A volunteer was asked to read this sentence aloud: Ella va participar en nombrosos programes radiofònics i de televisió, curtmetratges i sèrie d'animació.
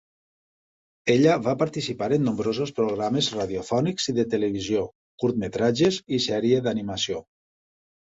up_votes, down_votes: 2, 0